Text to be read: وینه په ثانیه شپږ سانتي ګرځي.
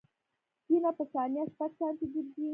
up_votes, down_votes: 2, 0